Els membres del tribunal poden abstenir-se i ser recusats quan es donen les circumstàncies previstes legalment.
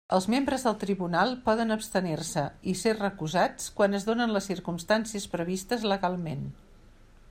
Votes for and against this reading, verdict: 3, 0, accepted